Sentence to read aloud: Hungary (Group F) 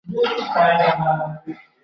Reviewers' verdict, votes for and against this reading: rejected, 0, 2